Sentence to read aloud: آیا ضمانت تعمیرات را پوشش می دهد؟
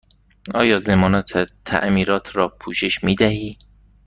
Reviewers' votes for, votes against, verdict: 1, 2, rejected